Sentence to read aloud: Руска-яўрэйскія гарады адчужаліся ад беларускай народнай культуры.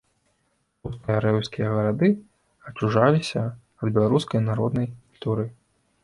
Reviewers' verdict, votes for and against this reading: rejected, 0, 2